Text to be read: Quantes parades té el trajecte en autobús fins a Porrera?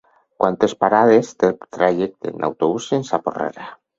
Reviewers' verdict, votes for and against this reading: accepted, 4, 2